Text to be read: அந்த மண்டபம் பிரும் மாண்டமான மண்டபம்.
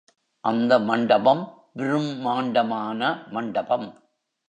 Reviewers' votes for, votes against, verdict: 0, 2, rejected